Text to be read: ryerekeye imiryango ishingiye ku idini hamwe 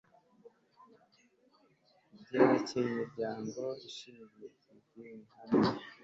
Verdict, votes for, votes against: rejected, 1, 2